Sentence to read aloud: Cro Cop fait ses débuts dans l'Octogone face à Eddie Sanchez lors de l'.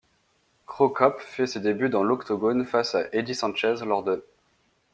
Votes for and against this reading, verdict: 1, 2, rejected